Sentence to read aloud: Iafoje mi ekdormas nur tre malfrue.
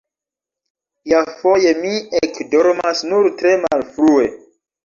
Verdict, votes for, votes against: rejected, 0, 2